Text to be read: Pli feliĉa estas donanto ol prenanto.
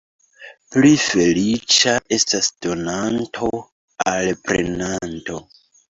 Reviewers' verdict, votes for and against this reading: rejected, 1, 2